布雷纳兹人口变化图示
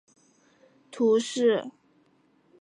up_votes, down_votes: 0, 3